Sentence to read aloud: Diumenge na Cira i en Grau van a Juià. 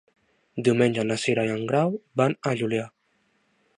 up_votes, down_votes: 1, 2